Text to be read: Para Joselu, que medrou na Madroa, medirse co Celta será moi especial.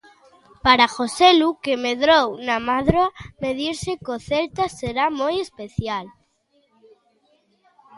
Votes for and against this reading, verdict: 1, 2, rejected